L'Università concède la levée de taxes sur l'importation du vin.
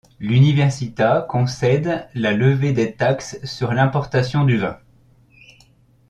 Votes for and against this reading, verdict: 2, 1, accepted